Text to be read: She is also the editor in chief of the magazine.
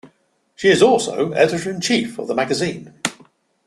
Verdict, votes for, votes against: rejected, 1, 2